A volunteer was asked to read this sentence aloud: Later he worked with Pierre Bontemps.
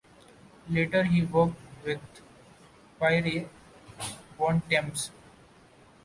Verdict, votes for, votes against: rejected, 0, 2